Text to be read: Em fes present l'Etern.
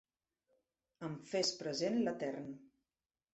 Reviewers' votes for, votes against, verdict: 3, 1, accepted